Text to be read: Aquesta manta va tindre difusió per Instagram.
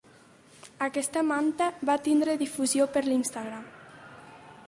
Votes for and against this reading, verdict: 1, 2, rejected